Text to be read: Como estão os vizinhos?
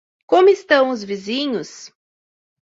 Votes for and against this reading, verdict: 2, 0, accepted